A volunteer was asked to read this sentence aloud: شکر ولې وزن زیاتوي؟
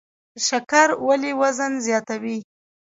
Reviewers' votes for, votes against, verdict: 0, 2, rejected